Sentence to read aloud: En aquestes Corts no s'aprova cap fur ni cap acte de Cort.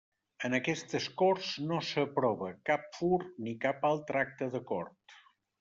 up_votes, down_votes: 0, 2